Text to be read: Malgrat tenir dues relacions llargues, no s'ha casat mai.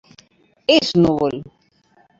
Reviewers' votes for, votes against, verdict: 0, 2, rejected